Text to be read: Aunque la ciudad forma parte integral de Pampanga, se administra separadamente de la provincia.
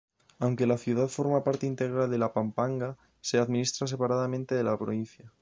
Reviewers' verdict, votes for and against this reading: rejected, 0, 2